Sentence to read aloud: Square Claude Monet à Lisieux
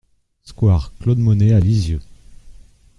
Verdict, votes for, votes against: accepted, 2, 0